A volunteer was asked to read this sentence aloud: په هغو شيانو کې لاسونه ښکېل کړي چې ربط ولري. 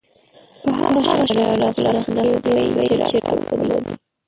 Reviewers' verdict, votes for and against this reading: rejected, 0, 2